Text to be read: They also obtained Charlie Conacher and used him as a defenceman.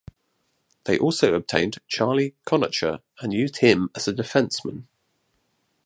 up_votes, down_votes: 2, 0